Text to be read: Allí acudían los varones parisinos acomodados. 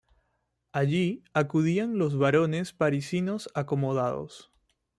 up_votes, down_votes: 2, 0